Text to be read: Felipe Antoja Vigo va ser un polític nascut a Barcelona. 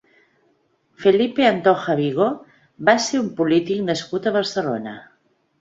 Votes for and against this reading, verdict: 2, 0, accepted